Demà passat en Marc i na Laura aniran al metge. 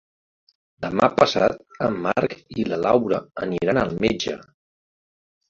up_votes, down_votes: 1, 3